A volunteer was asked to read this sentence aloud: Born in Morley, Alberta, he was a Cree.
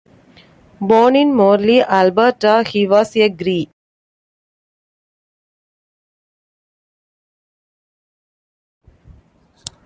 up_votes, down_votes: 1, 2